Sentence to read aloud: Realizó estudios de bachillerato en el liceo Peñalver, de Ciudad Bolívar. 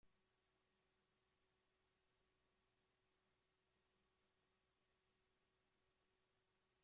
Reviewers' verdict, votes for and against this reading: rejected, 0, 2